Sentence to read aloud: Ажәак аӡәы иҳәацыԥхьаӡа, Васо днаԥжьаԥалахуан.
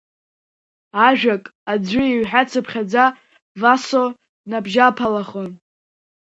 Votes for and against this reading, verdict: 2, 0, accepted